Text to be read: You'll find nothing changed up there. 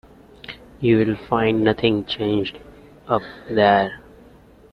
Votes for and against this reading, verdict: 1, 2, rejected